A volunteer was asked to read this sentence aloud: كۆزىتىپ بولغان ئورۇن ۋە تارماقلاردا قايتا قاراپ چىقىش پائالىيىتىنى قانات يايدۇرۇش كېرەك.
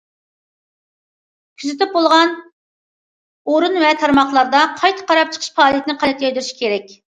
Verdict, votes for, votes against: accepted, 2, 0